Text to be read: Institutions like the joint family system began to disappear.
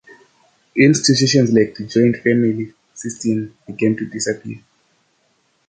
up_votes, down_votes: 2, 0